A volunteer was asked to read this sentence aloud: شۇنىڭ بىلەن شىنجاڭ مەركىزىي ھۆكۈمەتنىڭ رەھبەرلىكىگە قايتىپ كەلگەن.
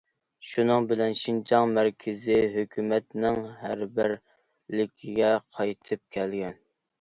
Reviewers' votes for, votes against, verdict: 0, 2, rejected